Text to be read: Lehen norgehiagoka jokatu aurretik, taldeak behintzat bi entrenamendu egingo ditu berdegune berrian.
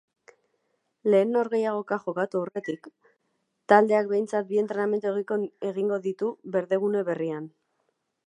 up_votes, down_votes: 0, 2